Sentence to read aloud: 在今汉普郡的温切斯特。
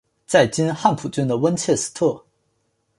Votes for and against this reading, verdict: 5, 1, accepted